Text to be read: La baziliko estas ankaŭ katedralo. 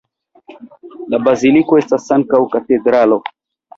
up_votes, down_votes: 2, 0